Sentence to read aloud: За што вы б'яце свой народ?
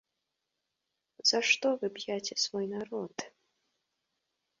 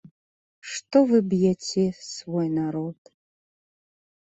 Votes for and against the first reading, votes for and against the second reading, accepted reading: 2, 0, 0, 2, first